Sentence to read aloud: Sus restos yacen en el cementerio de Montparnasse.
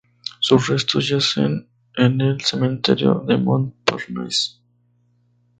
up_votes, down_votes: 2, 0